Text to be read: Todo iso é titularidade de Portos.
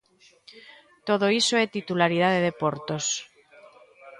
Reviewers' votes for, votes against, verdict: 2, 0, accepted